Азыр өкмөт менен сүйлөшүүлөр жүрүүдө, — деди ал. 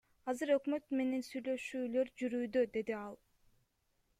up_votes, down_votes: 1, 2